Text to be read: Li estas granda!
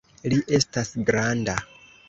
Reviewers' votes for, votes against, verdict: 2, 0, accepted